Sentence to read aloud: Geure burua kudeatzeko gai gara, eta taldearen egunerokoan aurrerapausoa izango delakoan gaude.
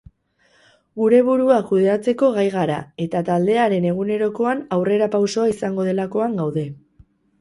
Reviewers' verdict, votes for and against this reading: rejected, 0, 4